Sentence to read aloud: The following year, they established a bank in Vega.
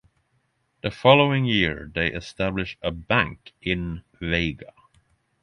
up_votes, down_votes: 6, 3